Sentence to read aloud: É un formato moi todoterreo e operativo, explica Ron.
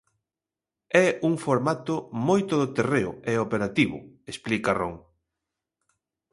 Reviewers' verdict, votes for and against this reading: accepted, 2, 0